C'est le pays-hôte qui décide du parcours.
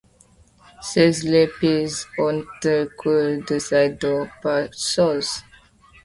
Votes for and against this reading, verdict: 0, 2, rejected